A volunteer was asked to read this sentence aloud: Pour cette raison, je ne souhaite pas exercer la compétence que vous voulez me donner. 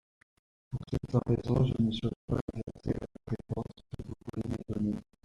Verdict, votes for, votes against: rejected, 0, 2